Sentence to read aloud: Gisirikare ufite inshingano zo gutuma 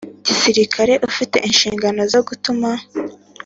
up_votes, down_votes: 3, 0